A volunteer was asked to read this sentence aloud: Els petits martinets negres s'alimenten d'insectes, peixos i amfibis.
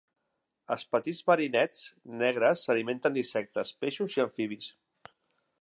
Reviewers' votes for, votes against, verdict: 0, 2, rejected